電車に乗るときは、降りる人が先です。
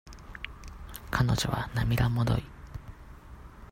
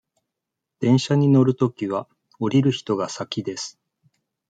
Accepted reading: second